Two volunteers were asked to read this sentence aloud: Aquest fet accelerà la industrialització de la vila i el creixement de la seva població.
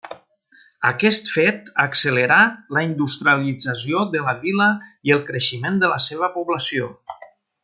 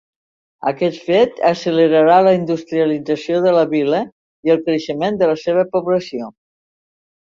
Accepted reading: first